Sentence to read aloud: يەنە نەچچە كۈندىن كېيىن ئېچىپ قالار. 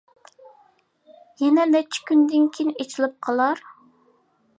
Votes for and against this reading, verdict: 0, 2, rejected